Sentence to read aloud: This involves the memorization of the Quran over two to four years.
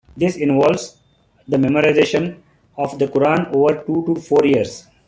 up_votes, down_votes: 2, 0